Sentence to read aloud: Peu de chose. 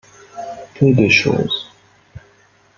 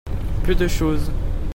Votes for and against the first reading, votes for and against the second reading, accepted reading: 1, 2, 2, 0, second